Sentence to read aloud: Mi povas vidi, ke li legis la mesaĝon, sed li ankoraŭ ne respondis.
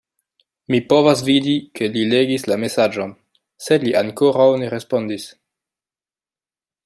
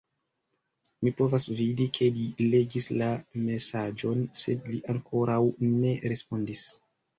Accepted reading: first